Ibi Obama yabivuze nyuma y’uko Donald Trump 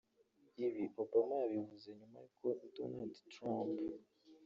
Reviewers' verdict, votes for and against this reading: rejected, 2, 3